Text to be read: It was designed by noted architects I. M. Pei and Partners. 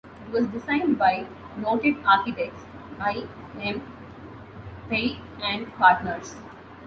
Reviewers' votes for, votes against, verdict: 2, 0, accepted